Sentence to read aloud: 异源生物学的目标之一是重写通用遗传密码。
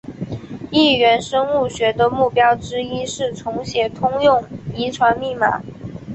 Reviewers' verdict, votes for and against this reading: accepted, 4, 0